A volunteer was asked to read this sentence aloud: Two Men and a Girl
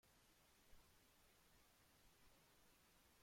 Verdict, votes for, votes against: rejected, 0, 2